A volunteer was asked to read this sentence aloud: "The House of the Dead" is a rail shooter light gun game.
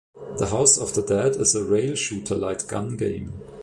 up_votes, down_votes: 2, 0